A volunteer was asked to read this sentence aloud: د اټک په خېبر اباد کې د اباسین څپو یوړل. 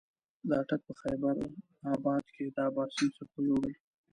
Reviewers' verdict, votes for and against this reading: accepted, 2, 1